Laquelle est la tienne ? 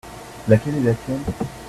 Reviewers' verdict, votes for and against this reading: accepted, 2, 0